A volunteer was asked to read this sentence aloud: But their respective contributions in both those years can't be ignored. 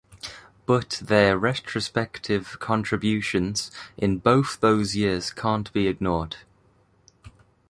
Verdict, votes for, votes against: rejected, 1, 2